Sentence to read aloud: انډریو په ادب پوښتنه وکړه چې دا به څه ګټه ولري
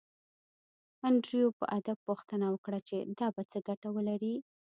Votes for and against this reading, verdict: 2, 0, accepted